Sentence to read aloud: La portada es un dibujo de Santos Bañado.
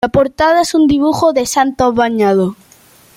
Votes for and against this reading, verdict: 2, 0, accepted